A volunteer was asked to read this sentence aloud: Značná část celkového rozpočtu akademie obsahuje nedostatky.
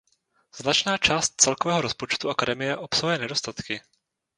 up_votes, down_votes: 0, 2